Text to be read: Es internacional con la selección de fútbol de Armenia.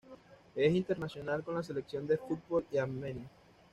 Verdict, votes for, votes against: accepted, 2, 0